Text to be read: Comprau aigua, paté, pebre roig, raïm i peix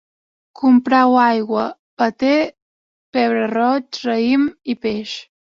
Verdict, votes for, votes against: accepted, 2, 0